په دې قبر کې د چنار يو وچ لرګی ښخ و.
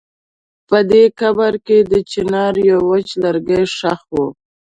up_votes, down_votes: 2, 0